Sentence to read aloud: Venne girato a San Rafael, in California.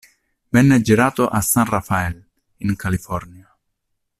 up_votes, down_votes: 2, 0